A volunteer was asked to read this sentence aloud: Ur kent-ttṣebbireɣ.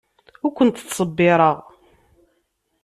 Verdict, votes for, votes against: accepted, 2, 0